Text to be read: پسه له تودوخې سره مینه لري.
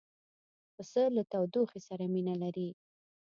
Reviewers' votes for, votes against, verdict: 2, 0, accepted